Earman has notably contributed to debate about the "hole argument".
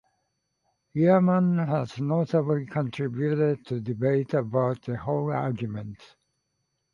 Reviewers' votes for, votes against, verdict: 2, 0, accepted